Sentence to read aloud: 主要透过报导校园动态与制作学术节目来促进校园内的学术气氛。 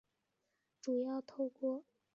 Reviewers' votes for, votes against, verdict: 0, 3, rejected